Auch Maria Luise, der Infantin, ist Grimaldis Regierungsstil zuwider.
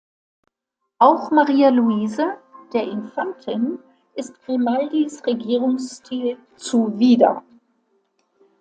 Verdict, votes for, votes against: accepted, 2, 0